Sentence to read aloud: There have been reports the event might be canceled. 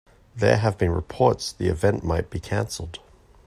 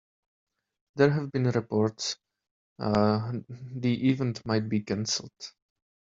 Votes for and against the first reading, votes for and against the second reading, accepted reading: 2, 0, 1, 2, first